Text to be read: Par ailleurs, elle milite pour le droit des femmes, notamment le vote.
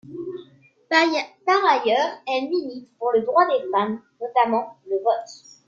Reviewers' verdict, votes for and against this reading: accepted, 2, 1